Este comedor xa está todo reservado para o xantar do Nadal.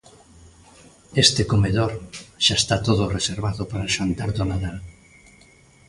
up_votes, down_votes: 2, 0